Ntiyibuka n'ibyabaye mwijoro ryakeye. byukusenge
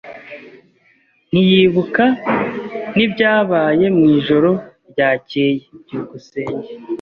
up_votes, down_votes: 2, 0